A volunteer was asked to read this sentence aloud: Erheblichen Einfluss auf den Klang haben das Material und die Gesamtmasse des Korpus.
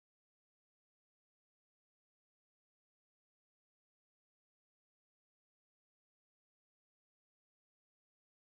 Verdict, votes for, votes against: rejected, 0, 2